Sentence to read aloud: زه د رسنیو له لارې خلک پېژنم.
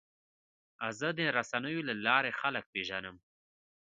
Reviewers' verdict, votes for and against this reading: rejected, 1, 2